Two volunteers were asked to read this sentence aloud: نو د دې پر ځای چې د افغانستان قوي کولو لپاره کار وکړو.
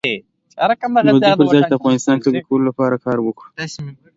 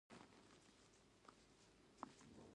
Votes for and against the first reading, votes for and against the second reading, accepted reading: 2, 0, 0, 2, first